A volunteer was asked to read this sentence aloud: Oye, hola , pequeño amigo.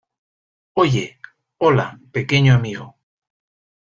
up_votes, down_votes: 2, 0